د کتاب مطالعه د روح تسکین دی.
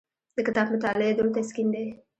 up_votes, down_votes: 2, 0